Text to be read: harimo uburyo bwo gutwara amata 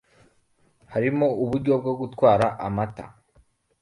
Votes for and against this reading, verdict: 2, 1, accepted